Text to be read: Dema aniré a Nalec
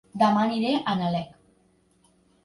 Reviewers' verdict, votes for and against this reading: accepted, 2, 1